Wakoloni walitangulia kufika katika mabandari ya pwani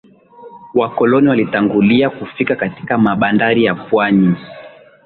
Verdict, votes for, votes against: accepted, 9, 5